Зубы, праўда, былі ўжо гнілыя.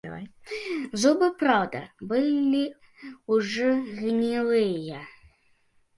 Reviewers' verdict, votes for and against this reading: rejected, 0, 2